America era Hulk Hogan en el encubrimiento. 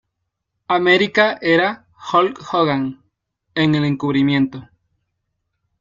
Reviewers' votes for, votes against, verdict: 2, 0, accepted